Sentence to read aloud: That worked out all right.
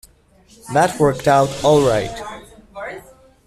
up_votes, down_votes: 2, 1